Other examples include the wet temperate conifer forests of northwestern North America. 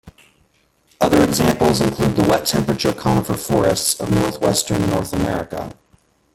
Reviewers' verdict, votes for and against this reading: rejected, 1, 2